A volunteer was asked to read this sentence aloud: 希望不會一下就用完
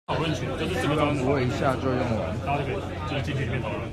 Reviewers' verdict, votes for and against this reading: rejected, 1, 2